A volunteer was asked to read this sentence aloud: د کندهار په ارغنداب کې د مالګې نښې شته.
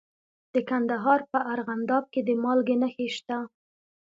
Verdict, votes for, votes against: accepted, 2, 0